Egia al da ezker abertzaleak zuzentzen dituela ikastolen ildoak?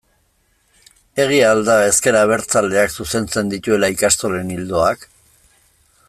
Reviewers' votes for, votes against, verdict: 2, 0, accepted